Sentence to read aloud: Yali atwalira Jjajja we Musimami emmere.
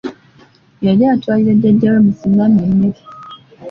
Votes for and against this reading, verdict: 2, 0, accepted